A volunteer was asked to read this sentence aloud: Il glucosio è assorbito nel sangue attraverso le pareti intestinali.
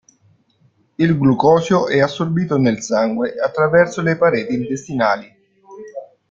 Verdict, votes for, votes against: accepted, 2, 0